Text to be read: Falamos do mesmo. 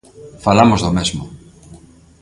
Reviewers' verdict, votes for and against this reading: accepted, 2, 0